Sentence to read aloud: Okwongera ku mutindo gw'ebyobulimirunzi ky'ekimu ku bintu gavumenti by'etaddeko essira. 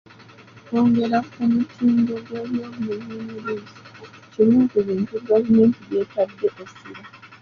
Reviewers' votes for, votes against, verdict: 0, 2, rejected